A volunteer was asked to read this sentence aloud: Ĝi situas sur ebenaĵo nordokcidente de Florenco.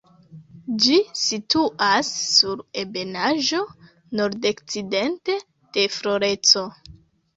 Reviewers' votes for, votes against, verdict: 0, 2, rejected